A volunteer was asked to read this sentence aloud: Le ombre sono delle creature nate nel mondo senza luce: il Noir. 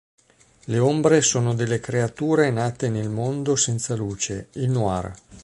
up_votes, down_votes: 2, 0